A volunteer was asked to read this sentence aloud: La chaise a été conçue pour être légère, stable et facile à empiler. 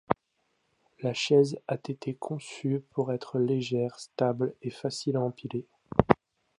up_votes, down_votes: 2, 0